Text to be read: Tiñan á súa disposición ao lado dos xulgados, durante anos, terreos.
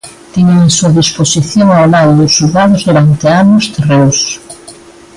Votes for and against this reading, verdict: 0, 2, rejected